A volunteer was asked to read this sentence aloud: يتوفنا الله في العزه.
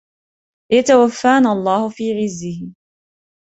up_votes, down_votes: 1, 2